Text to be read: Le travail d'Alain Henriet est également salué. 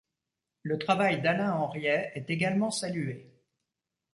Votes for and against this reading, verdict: 2, 0, accepted